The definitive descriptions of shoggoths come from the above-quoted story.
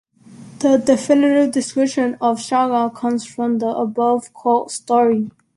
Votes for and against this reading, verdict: 1, 2, rejected